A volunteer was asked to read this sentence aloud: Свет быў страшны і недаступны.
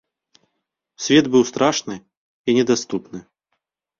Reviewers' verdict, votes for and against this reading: accepted, 2, 0